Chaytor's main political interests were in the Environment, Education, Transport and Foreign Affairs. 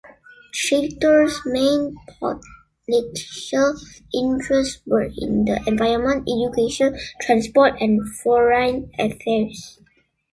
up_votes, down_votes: 0, 2